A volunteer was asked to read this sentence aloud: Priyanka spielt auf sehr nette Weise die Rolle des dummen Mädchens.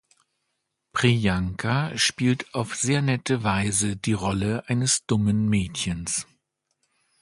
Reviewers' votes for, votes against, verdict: 1, 2, rejected